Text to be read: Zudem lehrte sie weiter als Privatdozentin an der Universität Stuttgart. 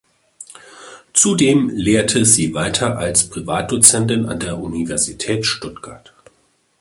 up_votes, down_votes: 2, 0